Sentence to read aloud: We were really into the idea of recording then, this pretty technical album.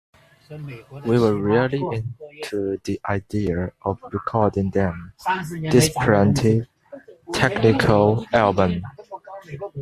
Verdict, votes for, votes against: rejected, 1, 2